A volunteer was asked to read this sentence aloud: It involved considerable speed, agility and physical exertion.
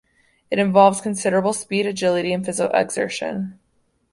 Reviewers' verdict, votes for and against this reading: rejected, 0, 2